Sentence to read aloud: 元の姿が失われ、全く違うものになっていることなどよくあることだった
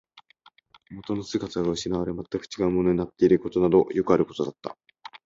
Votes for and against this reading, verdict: 23, 2, accepted